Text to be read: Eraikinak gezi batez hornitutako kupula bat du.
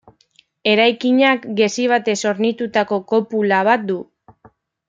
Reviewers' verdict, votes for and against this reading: rejected, 1, 2